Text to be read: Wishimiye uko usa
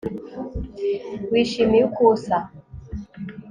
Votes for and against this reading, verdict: 3, 0, accepted